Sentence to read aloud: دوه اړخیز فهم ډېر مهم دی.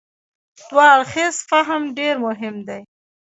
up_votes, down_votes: 1, 2